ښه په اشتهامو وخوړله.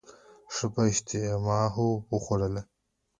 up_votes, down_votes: 2, 0